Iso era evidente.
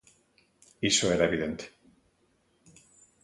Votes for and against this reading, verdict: 2, 0, accepted